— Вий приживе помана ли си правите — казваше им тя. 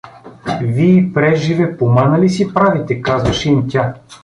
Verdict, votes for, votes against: rejected, 1, 2